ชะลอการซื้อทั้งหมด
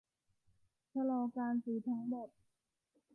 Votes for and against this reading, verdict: 2, 0, accepted